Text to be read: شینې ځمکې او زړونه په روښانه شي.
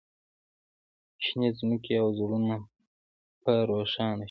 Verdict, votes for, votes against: rejected, 0, 2